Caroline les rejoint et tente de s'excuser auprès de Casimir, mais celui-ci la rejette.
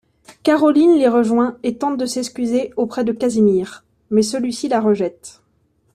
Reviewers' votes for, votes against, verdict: 2, 0, accepted